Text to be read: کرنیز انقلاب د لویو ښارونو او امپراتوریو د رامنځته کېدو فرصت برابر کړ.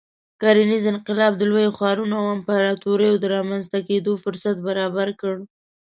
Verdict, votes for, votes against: accepted, 2, 0